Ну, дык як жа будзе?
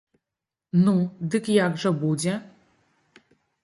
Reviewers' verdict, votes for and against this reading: accepted, 2, 0